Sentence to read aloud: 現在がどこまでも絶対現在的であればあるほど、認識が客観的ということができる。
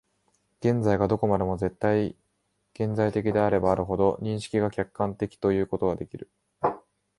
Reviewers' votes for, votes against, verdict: 1, 2, rejected